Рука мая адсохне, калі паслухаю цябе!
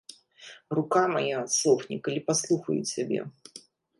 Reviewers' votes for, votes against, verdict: 2, 0, accepted